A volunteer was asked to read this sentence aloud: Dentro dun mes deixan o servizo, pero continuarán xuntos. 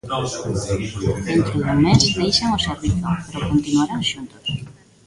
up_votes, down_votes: 0, 2